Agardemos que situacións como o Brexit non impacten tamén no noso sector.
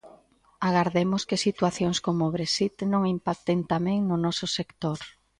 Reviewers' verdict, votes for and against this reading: accepted, 2, 0